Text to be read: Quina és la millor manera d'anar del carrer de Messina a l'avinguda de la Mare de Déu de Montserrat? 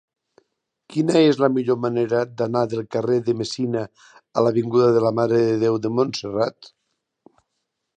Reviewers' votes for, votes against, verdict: 3, 0, accepted